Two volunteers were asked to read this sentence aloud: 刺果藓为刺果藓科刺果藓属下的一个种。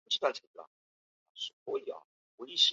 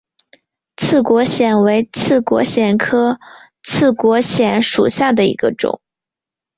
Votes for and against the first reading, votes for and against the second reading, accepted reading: 0, 2, 5, 1, second